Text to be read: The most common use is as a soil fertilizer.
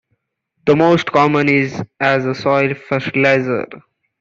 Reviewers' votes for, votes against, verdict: 1, 2, rejected